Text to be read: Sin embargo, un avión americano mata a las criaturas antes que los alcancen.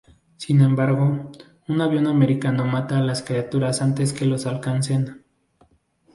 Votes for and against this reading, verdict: 4, 0, accepted